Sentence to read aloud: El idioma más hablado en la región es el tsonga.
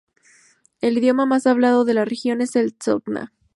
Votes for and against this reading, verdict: 0, 2, rejected